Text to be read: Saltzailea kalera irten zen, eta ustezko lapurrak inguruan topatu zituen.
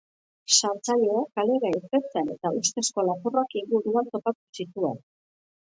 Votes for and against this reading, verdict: 0, 2, rejected